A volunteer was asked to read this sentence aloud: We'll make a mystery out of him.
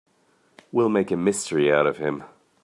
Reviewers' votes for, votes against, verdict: 2, 0, accepted